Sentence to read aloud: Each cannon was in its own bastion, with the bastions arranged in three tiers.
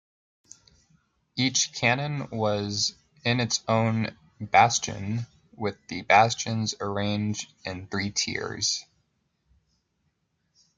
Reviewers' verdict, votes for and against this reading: accepted, 2, 0